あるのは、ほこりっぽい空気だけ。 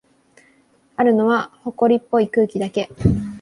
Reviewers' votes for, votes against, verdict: 2, 0, accepted